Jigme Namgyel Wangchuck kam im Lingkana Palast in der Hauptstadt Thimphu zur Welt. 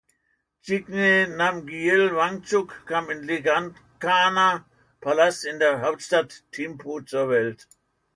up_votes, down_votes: 1, 2